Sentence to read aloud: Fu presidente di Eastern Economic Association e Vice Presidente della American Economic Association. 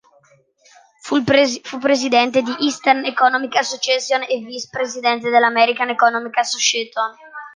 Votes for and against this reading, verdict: 0, 2, rejected